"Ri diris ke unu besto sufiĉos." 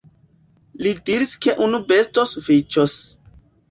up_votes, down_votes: 0, 2